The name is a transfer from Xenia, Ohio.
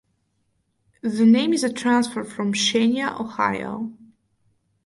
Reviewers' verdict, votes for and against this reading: accepted, 4, 2